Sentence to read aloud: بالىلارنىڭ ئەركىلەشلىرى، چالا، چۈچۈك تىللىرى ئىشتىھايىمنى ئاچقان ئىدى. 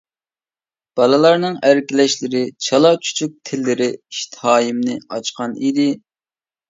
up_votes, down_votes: 2, 0